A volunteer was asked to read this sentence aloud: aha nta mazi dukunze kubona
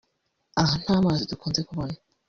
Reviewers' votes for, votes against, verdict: 1, 2, rejected